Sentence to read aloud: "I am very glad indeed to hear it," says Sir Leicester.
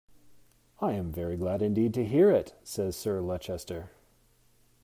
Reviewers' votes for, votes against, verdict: 0, 2, rejected